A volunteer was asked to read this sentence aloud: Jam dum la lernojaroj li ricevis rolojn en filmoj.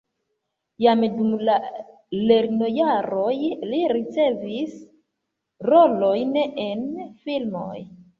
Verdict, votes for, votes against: rejected, 0, 2